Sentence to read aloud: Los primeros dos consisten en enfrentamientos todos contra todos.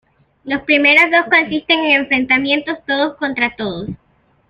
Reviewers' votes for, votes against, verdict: 2, 0, accepted